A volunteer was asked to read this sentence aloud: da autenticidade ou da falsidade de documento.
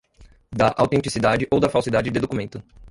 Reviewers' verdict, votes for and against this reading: accepted, 3, 2